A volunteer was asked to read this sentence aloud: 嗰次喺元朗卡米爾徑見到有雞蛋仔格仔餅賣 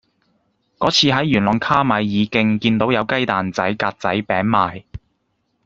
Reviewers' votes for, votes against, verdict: 2, 0, accepted